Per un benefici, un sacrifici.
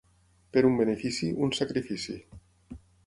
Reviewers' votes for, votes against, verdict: 6, 0, accepted